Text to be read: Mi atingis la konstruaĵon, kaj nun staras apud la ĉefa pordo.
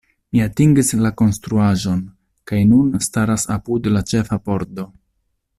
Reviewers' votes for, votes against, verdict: 2, 0, accepted